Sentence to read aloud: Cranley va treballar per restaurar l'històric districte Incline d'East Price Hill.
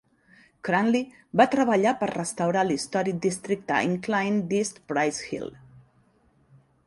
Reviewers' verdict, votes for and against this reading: accepted, 4, 0